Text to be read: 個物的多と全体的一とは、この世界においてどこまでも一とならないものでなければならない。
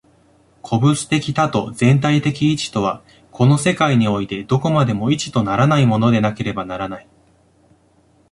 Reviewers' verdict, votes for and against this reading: accepted, 2, 0